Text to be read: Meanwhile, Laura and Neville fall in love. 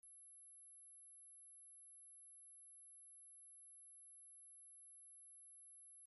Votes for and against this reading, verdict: 0, 2, rejected